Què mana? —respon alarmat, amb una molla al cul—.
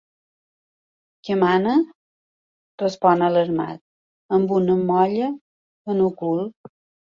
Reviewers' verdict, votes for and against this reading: rejected, 0, 2